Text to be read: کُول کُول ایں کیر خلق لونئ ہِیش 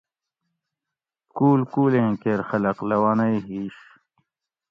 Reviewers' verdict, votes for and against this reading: accepted, 2, 0